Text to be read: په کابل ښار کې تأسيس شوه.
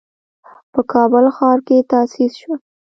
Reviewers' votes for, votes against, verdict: 1, 2, rejected